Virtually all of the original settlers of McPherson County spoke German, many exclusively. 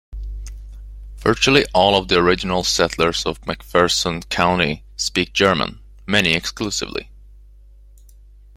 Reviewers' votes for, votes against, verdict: 0, 2, rejected